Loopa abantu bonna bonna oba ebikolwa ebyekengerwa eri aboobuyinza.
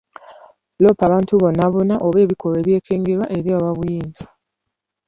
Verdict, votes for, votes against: accepted, 2, 0